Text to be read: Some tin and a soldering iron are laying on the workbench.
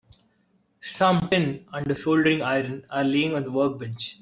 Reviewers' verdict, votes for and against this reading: accepted, 3, 2